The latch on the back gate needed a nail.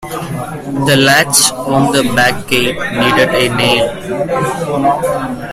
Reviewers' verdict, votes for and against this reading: rejected, 1, 2